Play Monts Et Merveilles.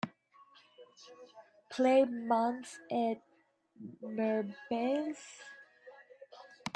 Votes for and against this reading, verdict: 3, 4, rejected